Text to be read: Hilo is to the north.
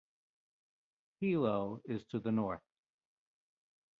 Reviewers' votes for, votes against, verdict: 1, 2, rejected